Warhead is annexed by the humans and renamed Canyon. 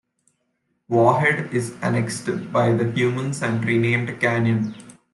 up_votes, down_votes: 2, 0